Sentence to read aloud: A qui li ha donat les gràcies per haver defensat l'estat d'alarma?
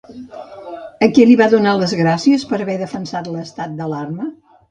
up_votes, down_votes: 1, 2